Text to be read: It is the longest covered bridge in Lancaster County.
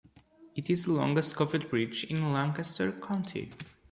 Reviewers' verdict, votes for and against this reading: rejected, 0, 2